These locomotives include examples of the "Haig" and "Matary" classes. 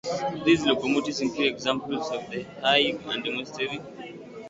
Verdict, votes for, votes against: rejected, 0, 2